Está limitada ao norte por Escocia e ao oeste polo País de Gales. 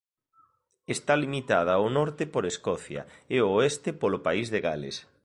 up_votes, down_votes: 2, 0